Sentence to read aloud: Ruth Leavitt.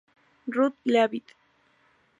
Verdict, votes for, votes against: accepted, 2, 0